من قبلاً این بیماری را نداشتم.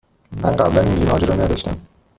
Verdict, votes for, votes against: rejected, 1, 2